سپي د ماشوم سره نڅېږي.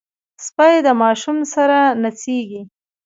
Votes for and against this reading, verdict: 1, 2, rejected